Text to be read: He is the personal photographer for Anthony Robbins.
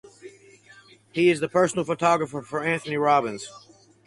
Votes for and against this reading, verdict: 4, 0, accepted